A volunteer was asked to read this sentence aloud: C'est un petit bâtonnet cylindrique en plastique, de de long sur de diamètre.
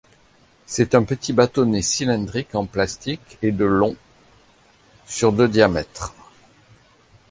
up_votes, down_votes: 1, 2